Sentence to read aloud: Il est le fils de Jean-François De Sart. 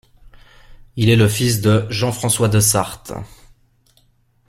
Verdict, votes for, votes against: accepted, 2, 0